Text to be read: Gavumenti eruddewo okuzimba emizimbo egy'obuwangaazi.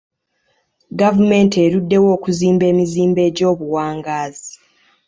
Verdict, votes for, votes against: accepted, 2, 0